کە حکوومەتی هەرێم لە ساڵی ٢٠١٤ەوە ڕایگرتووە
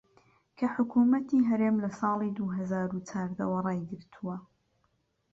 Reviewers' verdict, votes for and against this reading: rejected, 0, 2